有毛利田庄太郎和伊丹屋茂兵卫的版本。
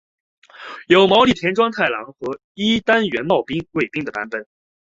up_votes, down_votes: 1, 2